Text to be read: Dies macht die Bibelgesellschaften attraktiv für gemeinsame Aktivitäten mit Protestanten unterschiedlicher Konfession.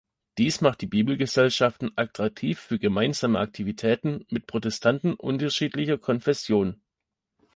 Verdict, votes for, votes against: accepted, 2, 0